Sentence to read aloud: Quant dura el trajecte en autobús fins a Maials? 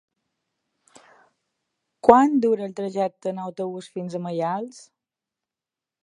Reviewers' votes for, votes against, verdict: 3, 0, accepted